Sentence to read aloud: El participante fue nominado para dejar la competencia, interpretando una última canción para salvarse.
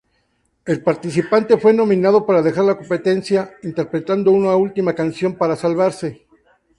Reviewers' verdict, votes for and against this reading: accepted, 2, 0